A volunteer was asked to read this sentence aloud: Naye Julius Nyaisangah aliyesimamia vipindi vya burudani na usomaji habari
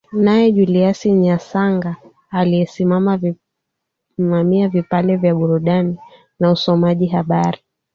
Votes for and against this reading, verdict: 0, 2, rejected